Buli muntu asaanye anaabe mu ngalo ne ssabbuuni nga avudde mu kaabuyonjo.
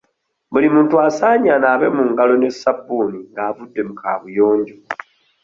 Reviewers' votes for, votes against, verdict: 2, 1, accepted